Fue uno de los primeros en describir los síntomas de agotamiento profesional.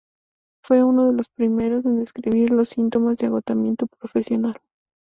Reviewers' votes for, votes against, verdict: 2, 0, accepted